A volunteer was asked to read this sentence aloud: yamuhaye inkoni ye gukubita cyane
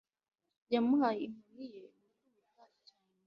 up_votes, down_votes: 2, 0